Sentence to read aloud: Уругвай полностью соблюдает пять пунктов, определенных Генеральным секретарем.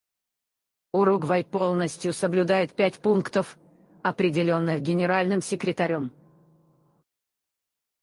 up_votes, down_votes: 2, 4